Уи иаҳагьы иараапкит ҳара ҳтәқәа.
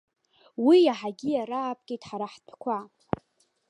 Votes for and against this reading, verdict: 1, 2, rejected